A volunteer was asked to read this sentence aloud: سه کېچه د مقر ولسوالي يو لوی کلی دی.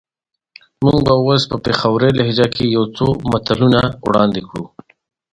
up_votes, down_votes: 0, 2